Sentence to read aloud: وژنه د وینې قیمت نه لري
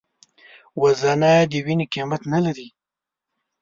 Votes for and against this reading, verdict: 2, 0, accepted